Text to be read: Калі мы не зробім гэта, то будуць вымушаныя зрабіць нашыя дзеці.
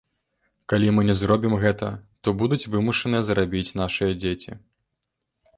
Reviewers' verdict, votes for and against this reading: rejected, 1, 2